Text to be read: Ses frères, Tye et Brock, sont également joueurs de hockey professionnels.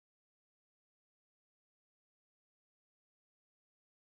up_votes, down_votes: 1, 2